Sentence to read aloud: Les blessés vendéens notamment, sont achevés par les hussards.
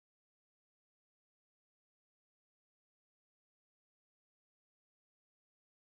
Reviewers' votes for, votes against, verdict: 0, 2, rejected